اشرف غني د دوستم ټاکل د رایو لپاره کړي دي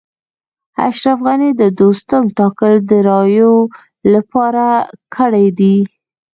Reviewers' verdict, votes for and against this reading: rejected, 2, 3